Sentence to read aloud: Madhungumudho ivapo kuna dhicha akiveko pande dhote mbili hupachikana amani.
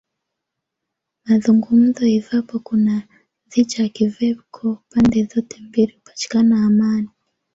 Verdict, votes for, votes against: rejected, 1, 2